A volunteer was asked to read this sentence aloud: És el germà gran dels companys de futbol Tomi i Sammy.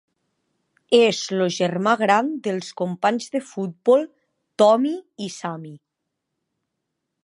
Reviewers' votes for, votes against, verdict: 0, 2, rejected